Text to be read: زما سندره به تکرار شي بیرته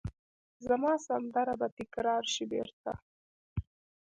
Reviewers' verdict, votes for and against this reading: rejected, 0, 2